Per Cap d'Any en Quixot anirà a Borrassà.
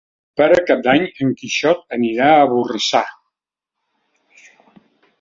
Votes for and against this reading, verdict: 2, 0, accepted